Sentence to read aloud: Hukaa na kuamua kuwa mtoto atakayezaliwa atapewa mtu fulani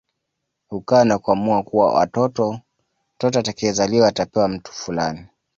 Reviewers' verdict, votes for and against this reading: rejected, 1, 2